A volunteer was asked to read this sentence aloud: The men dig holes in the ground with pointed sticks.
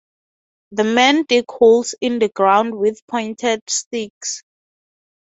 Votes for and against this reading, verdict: 3, 3, rejected